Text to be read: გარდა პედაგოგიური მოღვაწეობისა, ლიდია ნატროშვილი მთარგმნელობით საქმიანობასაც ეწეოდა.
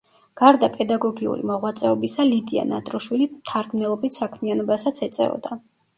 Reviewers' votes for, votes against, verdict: 0, 2, rejected